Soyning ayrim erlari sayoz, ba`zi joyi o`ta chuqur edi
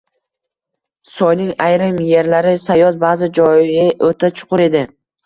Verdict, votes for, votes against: accepted, 2, 0